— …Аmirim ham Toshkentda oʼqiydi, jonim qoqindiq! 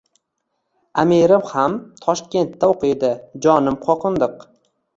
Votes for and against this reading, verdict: 1, 2, rejected